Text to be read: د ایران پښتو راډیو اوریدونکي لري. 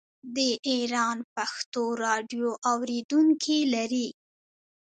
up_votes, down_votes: 2, 0